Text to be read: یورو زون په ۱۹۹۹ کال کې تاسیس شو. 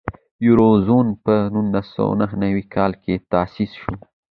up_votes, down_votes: 0, 2